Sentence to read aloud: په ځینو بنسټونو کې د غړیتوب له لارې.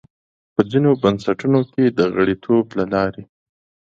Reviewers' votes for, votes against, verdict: 2, 0, accepted